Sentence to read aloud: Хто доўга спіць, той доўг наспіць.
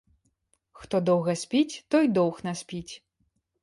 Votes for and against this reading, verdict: 2, 0, accepted